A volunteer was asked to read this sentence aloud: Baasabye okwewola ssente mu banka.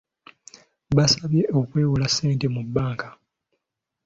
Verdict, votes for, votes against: accepted, 2, 0